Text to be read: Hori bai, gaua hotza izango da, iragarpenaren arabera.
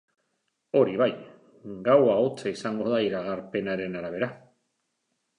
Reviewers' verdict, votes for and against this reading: accepted, 2, 0